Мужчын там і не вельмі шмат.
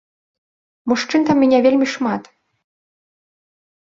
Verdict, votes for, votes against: accepted, 2, 0